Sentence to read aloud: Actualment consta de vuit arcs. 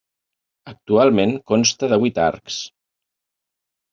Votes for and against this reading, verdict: 3, 0, accepted